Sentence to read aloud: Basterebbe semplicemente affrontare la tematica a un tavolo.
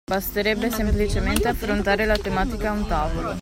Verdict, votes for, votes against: accepted, 2, 0